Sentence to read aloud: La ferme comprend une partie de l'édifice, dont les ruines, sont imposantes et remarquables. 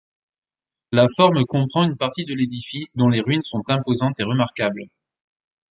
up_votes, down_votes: 0, 2